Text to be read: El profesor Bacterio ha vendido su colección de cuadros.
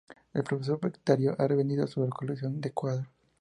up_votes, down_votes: 2, 0